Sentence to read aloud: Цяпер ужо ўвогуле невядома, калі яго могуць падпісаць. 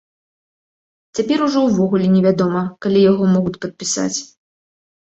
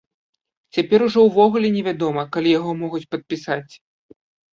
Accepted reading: second